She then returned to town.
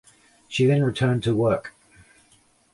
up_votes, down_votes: 0, 2